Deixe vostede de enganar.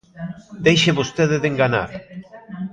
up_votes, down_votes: 0, 2